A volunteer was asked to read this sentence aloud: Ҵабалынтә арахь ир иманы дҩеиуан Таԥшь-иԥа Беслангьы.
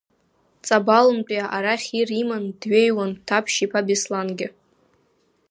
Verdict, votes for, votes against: rejected, 1, 2